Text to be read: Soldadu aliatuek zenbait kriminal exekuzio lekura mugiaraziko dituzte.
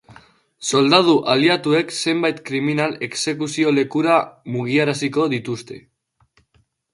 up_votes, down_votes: 1, 2